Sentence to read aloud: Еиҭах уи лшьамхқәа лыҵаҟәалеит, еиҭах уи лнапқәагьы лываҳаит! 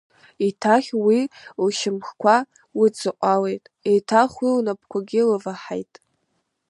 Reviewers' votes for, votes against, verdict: 0, 2, rejected